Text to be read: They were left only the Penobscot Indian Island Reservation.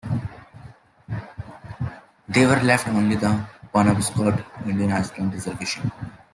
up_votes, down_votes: 0, 2